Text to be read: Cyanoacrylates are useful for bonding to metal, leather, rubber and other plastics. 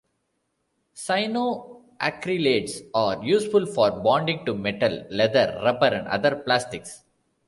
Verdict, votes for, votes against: accepted, 2, 1